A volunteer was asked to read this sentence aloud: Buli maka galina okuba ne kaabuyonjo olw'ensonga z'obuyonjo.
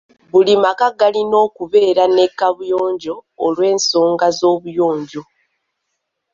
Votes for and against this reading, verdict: 0, 2, rejected